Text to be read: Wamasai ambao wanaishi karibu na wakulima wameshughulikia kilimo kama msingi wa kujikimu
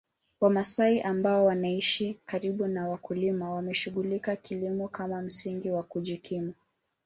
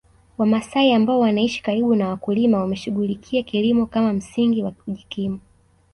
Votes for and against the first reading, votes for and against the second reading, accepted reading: 0, 2, 2, 0, second